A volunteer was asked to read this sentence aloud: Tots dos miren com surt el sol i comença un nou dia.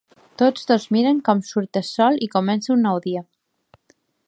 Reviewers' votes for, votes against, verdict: 3, 0, accepted